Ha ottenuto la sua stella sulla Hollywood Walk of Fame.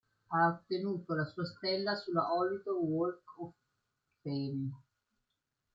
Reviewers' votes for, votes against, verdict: 0, 2, rejected